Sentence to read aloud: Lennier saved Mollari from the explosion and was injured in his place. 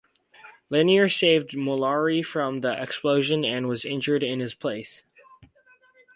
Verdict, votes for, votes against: accepted, 4, 0